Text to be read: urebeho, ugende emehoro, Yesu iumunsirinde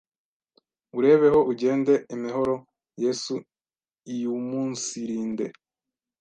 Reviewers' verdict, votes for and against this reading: rejected, 1, 2